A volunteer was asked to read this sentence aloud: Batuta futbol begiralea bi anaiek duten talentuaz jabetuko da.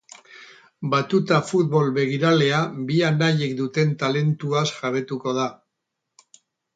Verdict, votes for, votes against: accepted, 4, 0